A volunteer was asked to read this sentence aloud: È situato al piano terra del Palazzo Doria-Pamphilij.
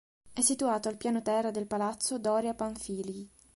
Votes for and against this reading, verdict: 3, 0, accepted